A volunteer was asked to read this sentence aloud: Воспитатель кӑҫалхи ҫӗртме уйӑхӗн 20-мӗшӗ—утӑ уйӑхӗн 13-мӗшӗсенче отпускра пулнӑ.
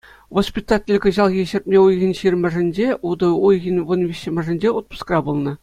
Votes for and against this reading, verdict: 0, 2, rejected